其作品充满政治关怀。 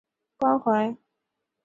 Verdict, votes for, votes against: rejected, 1, 3